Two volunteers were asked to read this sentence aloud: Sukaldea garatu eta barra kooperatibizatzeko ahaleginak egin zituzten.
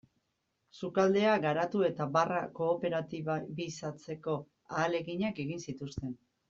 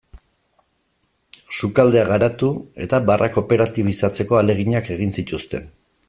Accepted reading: second